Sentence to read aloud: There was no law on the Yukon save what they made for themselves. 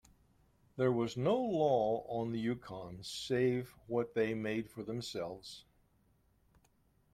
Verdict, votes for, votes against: accepted, 2, 0